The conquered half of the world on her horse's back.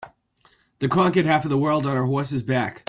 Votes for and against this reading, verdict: 2, 1, accepted